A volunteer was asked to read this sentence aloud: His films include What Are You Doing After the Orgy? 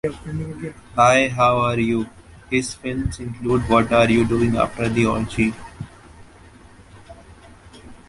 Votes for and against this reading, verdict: 0, 2, rejected